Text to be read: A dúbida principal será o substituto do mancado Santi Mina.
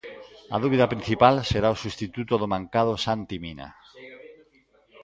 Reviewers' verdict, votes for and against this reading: rejected, 1, 2